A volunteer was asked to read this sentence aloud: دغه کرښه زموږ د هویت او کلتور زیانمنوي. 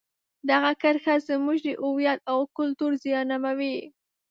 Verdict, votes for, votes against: rejected, 0, 2